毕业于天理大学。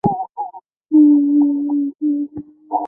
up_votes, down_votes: 0, 2